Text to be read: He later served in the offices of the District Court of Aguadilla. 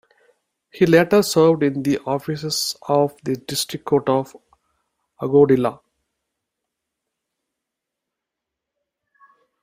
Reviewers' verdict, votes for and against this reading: rejected, 0, 2